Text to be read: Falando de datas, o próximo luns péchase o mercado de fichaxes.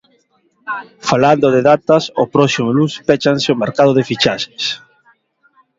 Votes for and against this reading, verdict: 0, 2, rejected